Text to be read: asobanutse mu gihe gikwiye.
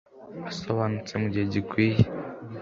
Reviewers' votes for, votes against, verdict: 2, 0, accepted